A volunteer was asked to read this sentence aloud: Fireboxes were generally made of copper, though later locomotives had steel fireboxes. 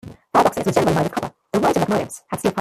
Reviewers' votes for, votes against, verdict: 1, 2, rejected